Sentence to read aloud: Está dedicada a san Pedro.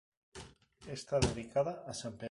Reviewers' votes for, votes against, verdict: 0, 4, rejected